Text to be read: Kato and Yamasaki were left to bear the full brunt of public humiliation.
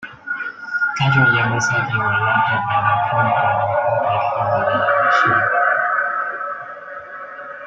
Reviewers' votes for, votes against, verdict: 0, 2, rejected